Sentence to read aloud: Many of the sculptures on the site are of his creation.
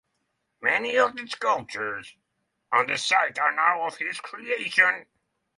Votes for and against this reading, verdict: 0, 3, rejected